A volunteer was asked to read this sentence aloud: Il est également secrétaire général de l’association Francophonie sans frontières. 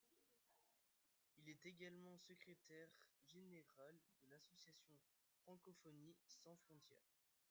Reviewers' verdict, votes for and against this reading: rejected, 0, 2